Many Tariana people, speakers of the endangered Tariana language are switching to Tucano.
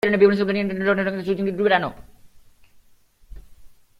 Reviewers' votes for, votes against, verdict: 0, 2, rejected